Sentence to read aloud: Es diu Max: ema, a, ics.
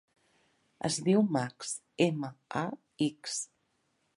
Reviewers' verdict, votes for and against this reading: accepted, 2, 0